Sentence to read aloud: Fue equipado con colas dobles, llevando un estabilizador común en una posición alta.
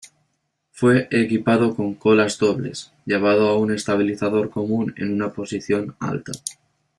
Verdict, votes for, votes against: rejected, 1, 2